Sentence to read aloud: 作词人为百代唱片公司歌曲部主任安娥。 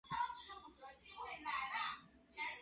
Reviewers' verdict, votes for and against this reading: rejected, 0, 3